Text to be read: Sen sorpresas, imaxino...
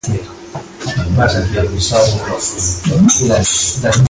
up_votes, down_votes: 0, 2